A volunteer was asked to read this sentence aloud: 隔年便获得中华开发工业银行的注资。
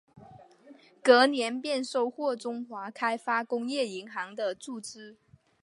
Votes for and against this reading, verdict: 4, 0, accepted